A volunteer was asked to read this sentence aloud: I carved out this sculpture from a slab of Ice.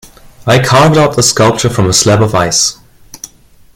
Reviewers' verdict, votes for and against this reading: accepted, 2, 0